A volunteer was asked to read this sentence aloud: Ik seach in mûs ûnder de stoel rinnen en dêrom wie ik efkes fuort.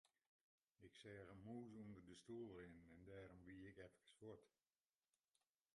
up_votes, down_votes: 0, 2